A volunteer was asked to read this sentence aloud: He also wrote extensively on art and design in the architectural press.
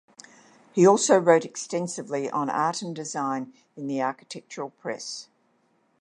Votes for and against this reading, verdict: 2, 0, accepted